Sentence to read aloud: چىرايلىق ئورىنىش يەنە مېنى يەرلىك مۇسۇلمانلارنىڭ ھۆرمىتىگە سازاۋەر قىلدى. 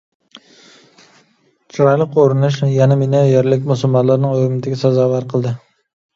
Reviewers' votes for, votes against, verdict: 2, 0, accepted